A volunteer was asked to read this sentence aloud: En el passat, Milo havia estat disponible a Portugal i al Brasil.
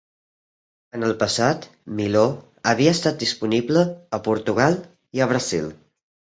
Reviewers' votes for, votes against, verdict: 1, 2, rejected